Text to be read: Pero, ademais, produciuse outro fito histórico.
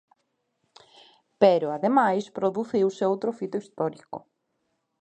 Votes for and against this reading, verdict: 2, 1, accepted